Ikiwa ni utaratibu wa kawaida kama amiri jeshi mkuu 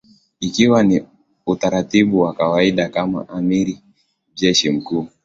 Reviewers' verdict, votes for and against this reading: accepted, 3, 1